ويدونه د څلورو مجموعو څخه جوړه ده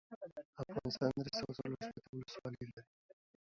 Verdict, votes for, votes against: rejected, 1, 2